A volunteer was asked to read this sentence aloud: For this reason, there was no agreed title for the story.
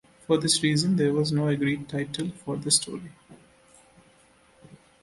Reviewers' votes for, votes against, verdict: 2, 0, accepted